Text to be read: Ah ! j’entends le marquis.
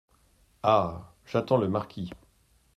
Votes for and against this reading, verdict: 1, 2, rejected